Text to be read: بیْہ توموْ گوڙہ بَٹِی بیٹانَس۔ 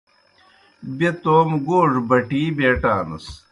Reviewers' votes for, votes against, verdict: 2, 0, accepted